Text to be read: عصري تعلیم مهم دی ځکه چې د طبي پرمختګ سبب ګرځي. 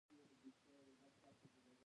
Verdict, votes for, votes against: rejected, 0, 2